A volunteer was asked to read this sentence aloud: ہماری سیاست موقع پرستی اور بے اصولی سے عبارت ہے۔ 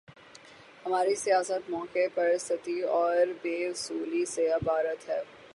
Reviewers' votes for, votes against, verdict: 3, 0, accepted